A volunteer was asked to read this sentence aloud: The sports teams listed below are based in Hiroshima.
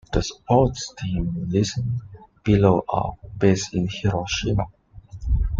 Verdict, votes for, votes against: rejected, 0, 2